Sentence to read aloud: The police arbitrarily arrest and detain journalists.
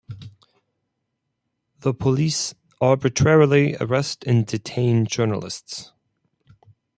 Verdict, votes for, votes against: accepted, 4, 0